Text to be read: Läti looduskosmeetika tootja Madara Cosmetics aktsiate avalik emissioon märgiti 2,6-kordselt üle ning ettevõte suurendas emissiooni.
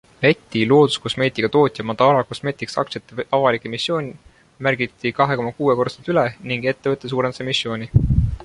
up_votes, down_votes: 0, 2